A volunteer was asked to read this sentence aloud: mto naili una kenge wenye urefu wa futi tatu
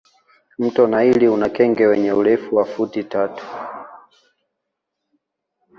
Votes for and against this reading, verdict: 2, 0, accepted